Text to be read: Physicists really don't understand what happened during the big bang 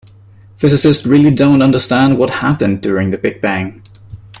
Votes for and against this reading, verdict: 2, 0, accepted